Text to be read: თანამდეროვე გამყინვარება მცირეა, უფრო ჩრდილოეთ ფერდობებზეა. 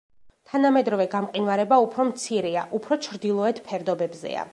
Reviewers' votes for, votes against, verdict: 0, 2, rejected